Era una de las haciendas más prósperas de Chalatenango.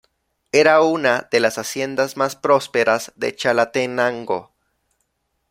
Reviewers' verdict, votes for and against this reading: accepted, 2, 0